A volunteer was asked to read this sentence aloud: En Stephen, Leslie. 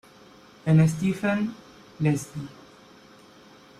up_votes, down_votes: 1, 2